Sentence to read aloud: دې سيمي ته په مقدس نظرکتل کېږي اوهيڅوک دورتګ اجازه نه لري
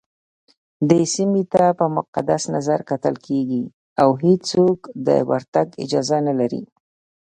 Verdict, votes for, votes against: rejected, 1, 2